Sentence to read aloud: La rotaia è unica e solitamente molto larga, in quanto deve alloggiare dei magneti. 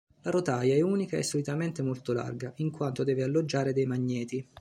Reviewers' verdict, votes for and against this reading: accepted, 2, 0